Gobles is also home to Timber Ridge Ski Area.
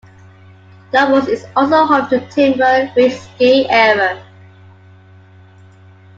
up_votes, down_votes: 1, 2